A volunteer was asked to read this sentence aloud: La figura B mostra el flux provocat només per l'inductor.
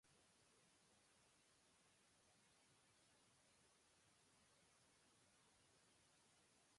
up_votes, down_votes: 0, 2